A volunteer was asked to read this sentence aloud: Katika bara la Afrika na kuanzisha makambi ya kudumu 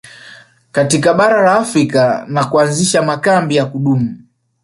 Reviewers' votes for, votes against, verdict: 0, 2, rejected